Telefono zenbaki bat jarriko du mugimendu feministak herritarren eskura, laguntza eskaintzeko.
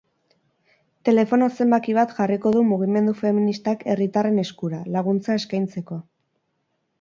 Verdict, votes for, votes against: accepted, 4, 0